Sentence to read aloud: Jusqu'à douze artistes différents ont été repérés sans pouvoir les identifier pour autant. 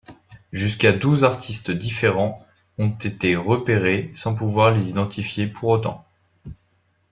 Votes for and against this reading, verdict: 2, 0, accepted